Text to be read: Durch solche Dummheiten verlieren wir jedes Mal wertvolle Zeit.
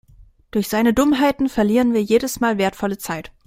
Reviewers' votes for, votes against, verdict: 0, 2, rejected